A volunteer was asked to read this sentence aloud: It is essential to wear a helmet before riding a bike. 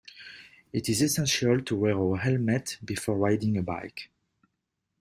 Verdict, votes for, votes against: accepted, 2, 0